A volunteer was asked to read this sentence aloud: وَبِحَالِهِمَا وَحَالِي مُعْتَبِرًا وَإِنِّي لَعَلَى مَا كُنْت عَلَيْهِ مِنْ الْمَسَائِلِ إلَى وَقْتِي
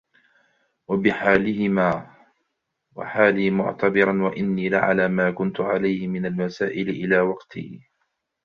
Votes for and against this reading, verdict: 3, 2, accepted